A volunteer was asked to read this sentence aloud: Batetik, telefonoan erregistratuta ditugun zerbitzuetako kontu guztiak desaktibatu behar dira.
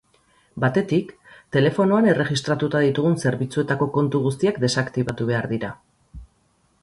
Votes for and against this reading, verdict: 4, 0, accepted